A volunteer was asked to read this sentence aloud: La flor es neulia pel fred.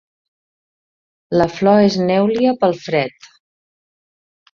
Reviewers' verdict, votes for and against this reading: rejected, 1, 2